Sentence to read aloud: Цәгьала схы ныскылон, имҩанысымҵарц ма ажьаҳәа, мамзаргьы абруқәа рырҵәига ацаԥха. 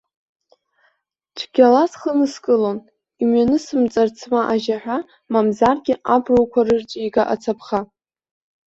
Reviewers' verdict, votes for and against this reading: accepted, 2, 0